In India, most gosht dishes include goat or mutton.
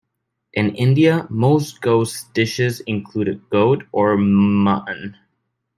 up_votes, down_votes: 0, 2